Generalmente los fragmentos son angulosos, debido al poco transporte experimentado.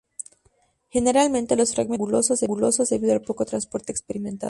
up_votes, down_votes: 0, 2